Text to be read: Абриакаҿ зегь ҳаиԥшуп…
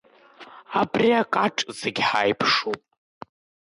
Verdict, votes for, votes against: rejected, 0, 2